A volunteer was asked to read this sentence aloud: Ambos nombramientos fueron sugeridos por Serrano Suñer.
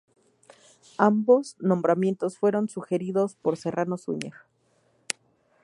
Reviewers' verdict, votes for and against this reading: accepted, 2, 0